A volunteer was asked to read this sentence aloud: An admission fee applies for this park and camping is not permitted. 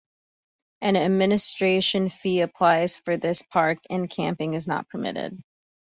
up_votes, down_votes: 0, 2